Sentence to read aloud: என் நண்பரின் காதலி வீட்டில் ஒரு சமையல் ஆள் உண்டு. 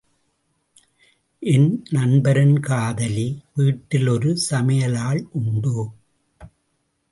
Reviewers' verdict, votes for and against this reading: accepted, 2, 0